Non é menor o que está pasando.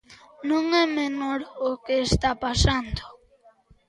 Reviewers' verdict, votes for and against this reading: accepted, 2, 0